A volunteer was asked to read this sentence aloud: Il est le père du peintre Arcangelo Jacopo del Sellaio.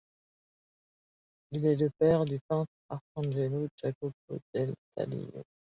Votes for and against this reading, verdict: 1, 2, rejected